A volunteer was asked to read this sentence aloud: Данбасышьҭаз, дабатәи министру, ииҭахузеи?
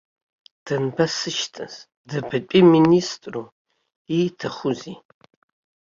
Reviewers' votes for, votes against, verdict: 2, 0, accepted